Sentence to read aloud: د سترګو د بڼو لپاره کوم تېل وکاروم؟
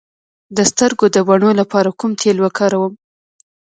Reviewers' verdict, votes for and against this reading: rejected, 1, 2